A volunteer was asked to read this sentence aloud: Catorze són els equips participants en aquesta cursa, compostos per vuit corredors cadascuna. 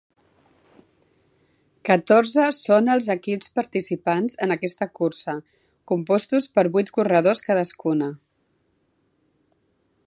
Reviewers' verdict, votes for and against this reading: accepted, 3, 0